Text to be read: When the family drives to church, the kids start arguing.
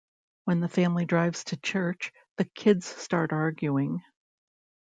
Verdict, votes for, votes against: accepted, 2, 0